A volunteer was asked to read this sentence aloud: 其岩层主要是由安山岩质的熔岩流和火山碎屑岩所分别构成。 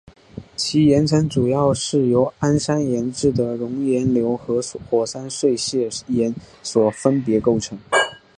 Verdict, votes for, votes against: rejected, 0, 2